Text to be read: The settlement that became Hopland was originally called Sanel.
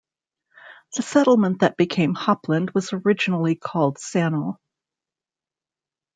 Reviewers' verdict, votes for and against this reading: rejected, 1, 2